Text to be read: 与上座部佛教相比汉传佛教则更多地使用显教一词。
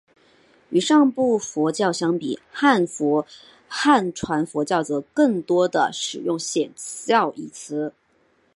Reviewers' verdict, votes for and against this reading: rejected, 0, 2